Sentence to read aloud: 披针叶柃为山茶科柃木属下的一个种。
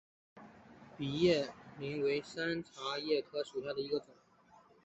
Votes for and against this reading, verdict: 2, 1, accepted